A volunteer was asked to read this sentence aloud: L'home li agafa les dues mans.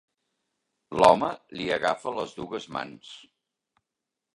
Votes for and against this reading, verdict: 2, 0, accepted